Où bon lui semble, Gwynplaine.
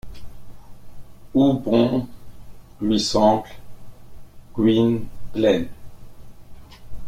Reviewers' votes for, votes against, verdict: 1, 2, rejected